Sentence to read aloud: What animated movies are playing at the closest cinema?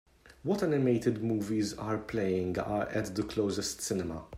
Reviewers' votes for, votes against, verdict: 1, 2, rejected